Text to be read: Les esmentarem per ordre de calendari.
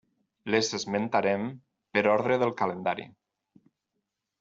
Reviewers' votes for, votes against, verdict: 0, 4, rejected